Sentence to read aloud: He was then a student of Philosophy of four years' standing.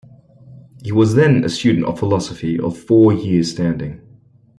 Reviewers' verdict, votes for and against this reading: rejected, 0, 2